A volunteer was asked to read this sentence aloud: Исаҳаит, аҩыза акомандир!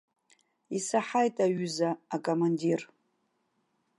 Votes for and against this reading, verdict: 2, 0, accepted